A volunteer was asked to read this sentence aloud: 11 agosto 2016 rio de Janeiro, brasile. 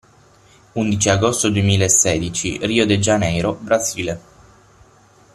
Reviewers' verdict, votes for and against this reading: rejected, 0, 2